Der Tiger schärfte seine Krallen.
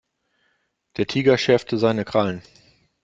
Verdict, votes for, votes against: accepted, 2, 0